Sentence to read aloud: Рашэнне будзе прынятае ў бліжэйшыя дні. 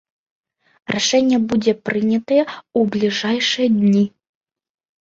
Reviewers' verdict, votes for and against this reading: rejected, 1, 2